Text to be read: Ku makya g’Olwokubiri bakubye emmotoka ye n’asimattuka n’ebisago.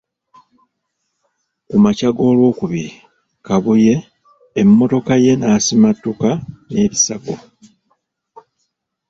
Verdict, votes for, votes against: rejected, 2, 3